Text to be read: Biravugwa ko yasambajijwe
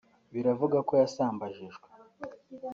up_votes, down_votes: 1, 2